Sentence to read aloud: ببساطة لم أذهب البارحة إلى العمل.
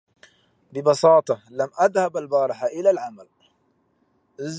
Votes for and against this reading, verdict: 0, 2, rejected